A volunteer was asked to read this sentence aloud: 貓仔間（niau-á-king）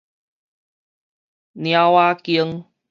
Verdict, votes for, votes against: rejected, 2, 2